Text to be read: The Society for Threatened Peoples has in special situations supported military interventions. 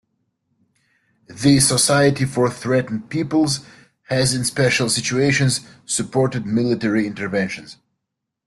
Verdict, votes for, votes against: accepted, 2, 0